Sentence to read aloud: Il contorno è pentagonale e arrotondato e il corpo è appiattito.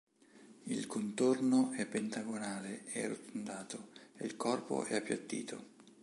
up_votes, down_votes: 2, 0